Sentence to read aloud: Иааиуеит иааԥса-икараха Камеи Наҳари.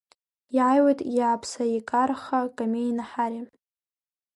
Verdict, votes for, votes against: rejected, 0, 2